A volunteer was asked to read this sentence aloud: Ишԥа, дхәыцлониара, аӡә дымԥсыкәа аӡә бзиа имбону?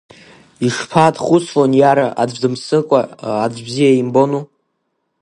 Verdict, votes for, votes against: rejected, 0, 2